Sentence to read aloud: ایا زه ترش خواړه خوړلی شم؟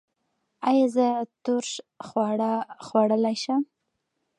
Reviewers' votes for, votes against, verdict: 2, 0, accepted